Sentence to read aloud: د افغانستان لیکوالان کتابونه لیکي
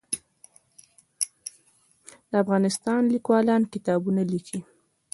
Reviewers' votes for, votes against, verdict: 0, 2, rejected